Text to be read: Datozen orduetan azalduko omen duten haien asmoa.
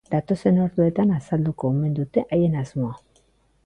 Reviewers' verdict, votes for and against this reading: accepted, 2, 1